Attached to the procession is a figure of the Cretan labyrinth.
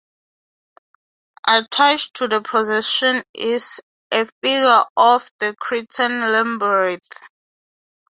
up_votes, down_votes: 0, 3